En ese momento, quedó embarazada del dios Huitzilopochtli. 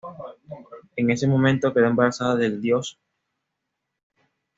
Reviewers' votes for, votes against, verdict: 1, 2, rejected